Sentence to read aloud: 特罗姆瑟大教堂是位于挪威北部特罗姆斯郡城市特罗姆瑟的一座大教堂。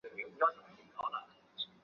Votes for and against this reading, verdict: 0, 2, rejected